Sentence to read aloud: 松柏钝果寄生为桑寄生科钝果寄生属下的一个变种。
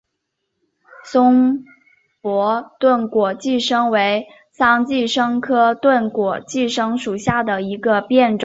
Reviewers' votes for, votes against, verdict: 3, 0, accepted